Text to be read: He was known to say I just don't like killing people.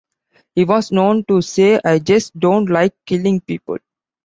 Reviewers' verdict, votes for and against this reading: accepted, 2, 0